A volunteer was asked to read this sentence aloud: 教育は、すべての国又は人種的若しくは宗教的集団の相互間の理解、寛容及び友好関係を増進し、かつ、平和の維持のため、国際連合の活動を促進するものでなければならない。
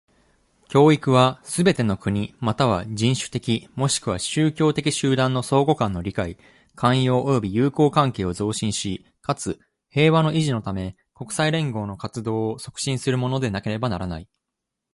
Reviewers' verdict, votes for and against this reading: accepted, 2, 1